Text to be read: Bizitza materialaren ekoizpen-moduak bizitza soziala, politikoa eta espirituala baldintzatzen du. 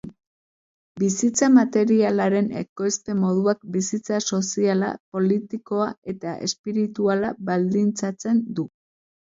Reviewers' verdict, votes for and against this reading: accepted, 2, 0